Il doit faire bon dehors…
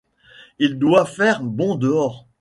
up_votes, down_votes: 1, 2